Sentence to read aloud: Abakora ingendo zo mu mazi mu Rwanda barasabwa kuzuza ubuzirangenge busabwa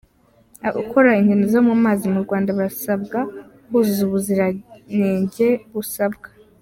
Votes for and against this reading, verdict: 0, 2, rejected